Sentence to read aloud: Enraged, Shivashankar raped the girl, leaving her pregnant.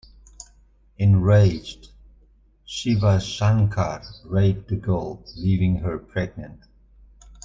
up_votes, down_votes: 2, 0